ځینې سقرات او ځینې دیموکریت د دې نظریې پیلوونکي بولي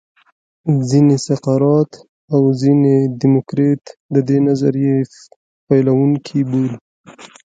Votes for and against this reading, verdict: 1, 2, rejected